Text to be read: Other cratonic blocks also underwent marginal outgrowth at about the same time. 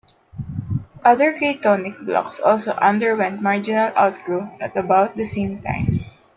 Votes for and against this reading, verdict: 0, 2, rejected